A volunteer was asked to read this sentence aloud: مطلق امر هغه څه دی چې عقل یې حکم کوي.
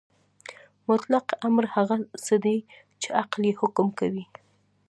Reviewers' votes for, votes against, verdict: 2, 0, accepted